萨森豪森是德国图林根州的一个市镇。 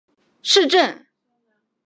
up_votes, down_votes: 0, 3